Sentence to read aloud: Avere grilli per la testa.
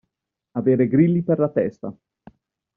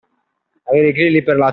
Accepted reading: first